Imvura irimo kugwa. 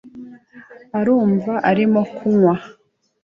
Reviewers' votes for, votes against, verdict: 0, 2, rejected